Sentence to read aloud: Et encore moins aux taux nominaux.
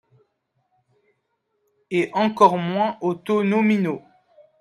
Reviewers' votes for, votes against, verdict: 2, 0, accepted